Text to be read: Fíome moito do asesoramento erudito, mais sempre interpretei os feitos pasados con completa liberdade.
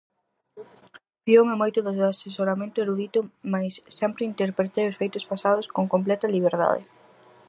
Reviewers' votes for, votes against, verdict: 2, 2, rejected